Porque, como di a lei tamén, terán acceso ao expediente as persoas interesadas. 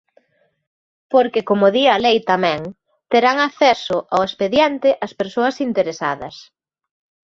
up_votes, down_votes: 2, 0